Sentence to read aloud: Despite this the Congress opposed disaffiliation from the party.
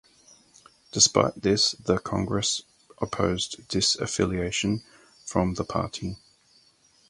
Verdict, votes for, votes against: accepted, 4, 0